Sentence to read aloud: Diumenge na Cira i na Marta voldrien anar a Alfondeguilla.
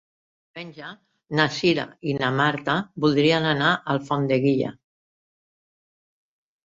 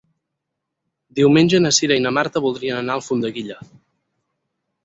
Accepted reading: second